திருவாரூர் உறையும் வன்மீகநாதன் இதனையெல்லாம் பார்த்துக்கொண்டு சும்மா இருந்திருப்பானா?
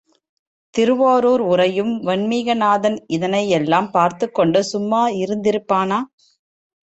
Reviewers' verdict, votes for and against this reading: accepted, 2, 0